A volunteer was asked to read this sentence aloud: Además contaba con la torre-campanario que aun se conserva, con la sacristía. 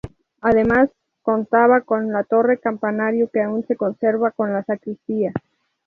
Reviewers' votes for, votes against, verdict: 0, 2, rejected